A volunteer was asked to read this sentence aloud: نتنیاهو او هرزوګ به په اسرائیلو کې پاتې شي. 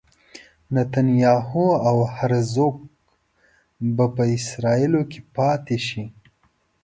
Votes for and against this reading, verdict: 3, 0, accepted